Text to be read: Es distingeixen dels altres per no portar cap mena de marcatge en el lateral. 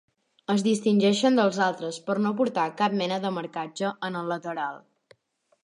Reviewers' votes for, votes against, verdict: 2, 0, accepted